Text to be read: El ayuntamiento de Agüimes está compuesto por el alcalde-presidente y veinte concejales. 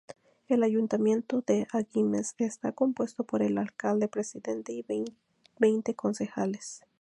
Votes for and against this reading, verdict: 2, 0, accepted